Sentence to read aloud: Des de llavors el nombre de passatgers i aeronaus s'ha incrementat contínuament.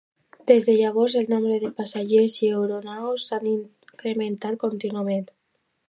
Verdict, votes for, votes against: accepted, 2, 0